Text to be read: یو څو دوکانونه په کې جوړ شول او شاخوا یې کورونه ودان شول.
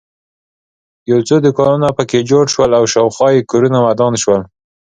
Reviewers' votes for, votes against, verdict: 2, 0, accepted